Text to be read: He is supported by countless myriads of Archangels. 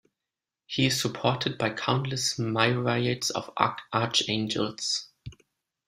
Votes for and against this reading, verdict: 1, 2, rejected